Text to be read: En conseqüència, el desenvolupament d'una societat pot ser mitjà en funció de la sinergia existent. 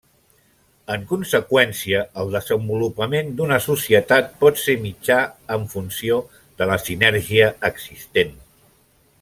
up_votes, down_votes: 3, 0